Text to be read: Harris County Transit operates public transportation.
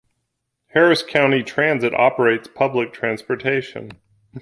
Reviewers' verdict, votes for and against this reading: accepted, 2, 0